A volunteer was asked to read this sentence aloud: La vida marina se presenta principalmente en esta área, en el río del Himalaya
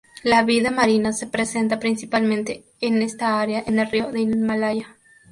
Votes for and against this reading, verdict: 4, 0, accepted